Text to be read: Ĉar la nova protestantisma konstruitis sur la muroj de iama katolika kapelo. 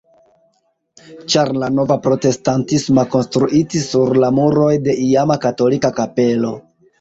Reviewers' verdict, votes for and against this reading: rejected, 1, 2